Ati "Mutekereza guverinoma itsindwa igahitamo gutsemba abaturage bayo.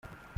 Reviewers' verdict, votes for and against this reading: rejected, 0, 2